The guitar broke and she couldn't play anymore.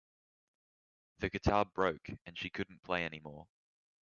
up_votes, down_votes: 2, 0